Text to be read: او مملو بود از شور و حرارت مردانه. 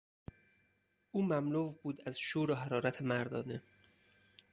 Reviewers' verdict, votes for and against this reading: rejected, 2, 4